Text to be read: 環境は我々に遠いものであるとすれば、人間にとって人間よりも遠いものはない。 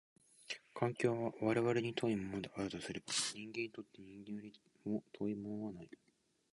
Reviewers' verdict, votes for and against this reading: rejected, 1, 2